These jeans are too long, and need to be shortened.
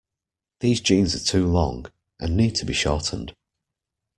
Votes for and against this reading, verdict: 2, 0, accepted